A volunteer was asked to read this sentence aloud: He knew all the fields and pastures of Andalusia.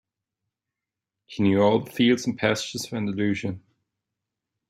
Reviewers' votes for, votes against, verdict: 2, 1, accepted